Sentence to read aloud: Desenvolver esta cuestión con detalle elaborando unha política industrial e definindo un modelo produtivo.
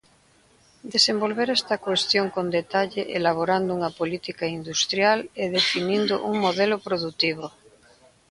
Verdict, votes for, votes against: rejected, 1, 2